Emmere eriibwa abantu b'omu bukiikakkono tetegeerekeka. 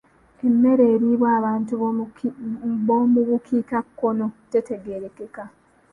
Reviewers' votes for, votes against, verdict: 2, 1, accepted